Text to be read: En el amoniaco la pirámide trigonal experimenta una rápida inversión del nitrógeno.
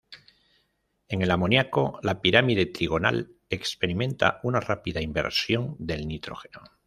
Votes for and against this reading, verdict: 2, 0, accepted